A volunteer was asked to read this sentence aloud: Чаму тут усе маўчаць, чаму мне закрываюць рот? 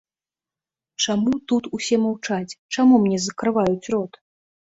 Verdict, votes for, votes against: accepted, 2, 0